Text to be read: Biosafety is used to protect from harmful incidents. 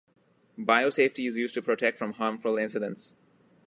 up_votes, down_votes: 2, 0